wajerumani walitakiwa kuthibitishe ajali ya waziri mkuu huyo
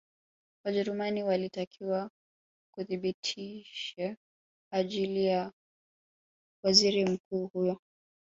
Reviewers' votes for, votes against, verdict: 0, 2, rejected